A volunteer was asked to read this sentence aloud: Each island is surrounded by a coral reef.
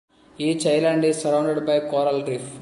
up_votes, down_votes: 1, 2